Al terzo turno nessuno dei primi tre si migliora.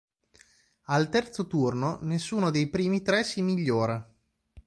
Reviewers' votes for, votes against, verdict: 2, 0, accepted